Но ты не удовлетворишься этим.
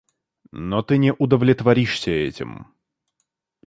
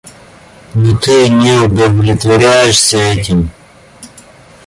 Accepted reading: first